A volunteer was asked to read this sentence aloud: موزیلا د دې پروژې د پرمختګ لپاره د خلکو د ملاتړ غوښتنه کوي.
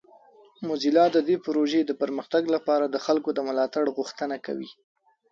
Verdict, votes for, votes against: accepted, 2, 0